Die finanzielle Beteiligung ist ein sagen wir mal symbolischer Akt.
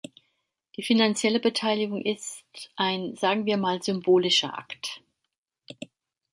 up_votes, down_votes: 2, 0